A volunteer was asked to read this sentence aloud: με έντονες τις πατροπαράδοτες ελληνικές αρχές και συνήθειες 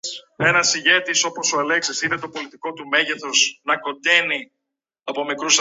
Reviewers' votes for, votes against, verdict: 0, 2, rejected